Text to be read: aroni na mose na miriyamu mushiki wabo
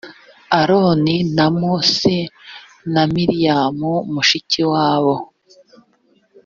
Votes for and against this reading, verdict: 3, 0, accepted